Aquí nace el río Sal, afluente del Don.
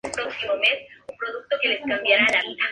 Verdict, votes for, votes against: rejected, 0, 4